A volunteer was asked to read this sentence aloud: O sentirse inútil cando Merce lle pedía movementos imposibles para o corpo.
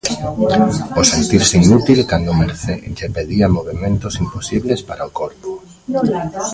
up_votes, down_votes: 1, 2